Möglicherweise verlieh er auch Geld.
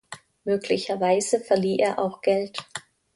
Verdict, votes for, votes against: accepted, 2, 0